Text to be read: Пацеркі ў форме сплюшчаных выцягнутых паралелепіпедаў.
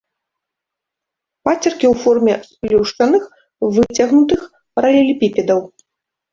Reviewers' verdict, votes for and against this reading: rejected, 0, 2